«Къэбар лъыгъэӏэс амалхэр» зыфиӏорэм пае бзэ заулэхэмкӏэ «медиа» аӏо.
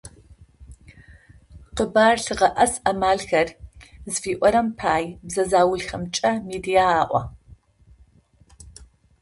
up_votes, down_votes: 0, 2